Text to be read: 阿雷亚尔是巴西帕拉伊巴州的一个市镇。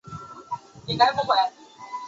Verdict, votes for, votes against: rejected, 0, 2